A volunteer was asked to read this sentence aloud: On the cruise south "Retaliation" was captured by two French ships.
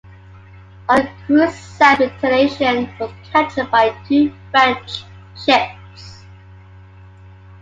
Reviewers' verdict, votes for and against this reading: rejected, 0, 2